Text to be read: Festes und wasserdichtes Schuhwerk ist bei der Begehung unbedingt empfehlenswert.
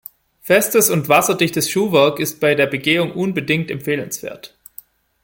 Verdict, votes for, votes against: rejected, 1, 2